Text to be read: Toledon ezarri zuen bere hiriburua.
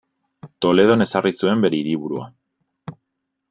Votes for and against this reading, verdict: 2, 0, accepted